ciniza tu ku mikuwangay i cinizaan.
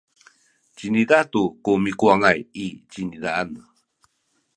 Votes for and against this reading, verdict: 2, 0, accepted